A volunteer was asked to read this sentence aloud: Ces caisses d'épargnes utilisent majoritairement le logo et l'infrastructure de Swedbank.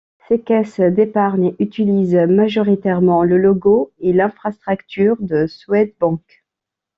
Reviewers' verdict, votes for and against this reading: rejected, 1, 2